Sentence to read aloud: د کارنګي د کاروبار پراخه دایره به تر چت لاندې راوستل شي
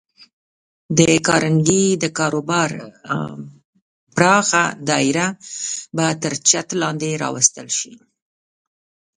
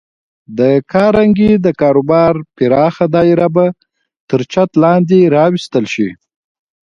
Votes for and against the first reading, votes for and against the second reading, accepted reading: 0, 2, 3, 0, second